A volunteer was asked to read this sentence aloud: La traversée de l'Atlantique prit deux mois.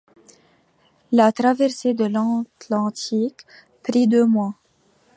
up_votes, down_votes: 0, 2